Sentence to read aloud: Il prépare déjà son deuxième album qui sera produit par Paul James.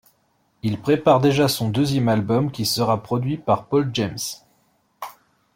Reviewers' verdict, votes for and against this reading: accepted, 2, 0